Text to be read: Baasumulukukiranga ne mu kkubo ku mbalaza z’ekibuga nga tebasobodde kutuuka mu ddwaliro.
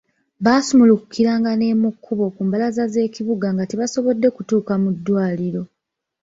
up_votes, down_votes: 0, 2